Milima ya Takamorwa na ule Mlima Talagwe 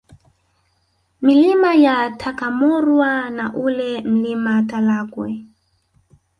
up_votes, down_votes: 3, 1